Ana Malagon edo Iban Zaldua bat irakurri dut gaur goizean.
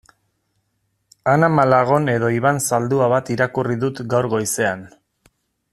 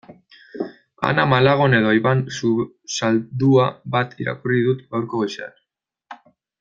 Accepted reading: first